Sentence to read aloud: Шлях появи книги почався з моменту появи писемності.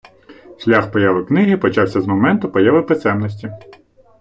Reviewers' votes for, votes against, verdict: 2, 0, accepted